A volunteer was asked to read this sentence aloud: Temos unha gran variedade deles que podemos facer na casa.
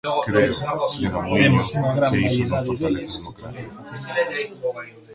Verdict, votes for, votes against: rejected, 0, 2